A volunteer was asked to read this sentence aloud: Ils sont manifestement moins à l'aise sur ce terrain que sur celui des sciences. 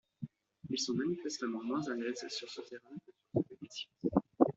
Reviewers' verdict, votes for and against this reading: rejected, 0, 2